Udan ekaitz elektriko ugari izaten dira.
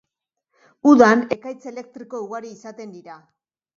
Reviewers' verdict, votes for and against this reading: rejected, 0, 2